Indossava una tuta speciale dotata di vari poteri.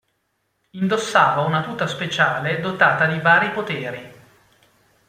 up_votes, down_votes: 2, 0